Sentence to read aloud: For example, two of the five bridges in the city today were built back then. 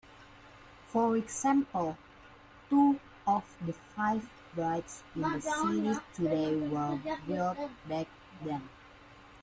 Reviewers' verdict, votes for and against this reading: rejected, 0, 2